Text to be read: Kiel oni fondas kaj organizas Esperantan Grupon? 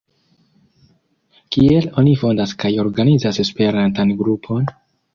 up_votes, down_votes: 2, 0